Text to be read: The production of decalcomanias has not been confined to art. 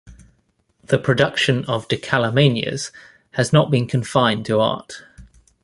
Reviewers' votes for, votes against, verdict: 0, 2, rejected